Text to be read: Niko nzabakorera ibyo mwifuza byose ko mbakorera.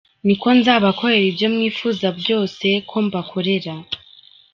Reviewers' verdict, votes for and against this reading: accepted, 3, 0